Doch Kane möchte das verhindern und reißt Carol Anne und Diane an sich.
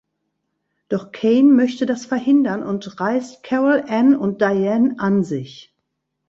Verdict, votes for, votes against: accepted, 2, 0